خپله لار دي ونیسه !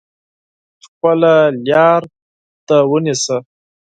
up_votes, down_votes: 4, 0